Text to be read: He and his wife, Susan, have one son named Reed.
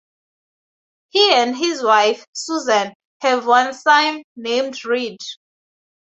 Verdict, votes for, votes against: accepted, 2, 0